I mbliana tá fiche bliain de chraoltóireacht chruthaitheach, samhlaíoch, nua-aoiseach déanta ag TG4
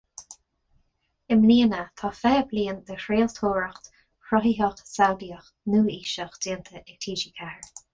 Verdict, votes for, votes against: rejected, 0, 2